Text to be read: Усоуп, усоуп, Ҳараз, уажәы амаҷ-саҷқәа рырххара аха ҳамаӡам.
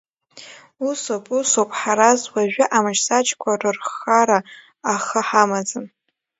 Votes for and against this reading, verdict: 1, 2, rejected